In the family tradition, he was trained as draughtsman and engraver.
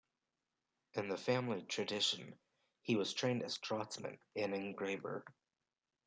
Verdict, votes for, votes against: accepted, 2, 0